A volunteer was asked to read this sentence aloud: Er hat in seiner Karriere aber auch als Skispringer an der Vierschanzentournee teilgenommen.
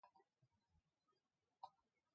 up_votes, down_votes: 0, 2